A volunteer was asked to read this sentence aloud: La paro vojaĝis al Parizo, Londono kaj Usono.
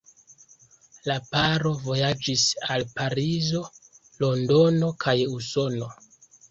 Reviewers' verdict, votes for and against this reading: accepted, 2, 0